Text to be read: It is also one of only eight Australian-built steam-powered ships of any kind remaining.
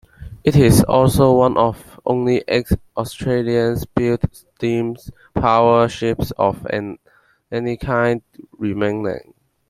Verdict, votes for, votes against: rejected, 0, 2